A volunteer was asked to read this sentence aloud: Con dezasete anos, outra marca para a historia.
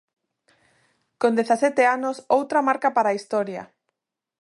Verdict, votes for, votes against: accepted, 2, 0